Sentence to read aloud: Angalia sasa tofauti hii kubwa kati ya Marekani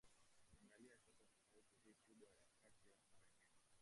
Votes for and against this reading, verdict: 1, 2, rejected